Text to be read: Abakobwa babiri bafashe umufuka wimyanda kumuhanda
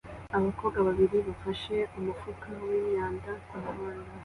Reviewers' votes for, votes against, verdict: 2, 0, accepted